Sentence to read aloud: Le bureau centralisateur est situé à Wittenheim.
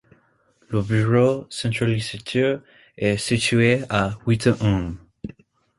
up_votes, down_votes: 1, 2